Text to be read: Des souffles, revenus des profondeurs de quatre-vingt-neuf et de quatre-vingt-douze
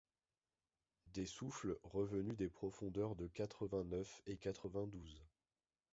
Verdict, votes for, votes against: rejected, 1, 2